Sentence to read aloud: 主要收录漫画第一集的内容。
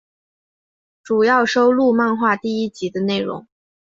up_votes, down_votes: 4, 0